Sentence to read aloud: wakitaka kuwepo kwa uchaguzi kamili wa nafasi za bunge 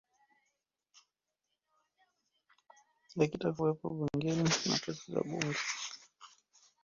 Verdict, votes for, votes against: rejected, 0, 2